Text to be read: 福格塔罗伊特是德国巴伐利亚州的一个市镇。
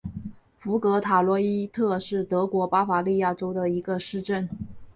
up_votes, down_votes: 5, 0